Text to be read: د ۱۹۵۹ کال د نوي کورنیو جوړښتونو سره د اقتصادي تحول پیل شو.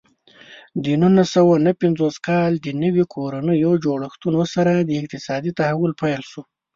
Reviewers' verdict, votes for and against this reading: rejected, 0, 2